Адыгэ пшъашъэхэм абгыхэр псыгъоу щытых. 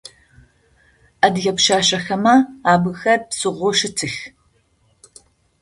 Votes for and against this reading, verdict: 0, 2, rejected